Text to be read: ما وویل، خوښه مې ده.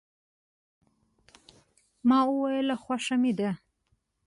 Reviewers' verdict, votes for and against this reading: accepted, 2, 0